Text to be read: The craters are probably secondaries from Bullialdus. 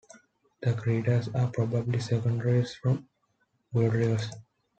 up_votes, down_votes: 1, 2